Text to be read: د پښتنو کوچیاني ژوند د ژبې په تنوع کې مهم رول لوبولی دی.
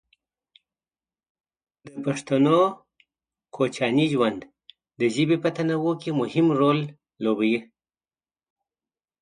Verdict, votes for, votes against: rejected, 1, 2